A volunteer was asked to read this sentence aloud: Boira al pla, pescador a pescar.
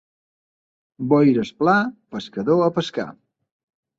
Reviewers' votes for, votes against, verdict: 1, 2, rejected